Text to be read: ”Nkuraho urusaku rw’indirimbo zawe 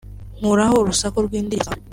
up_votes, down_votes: 1, 2